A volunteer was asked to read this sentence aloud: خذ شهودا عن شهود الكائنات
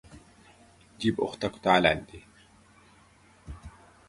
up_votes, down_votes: 0, 2